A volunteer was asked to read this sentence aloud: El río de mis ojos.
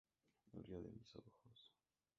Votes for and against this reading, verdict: 0, 2, rejected